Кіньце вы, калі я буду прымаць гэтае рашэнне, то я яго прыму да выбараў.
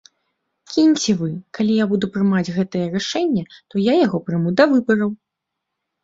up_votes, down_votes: 2, 0